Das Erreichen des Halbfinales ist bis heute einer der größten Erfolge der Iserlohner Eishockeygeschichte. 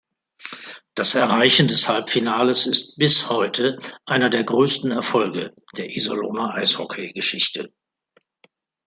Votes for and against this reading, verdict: 2, 0, accepted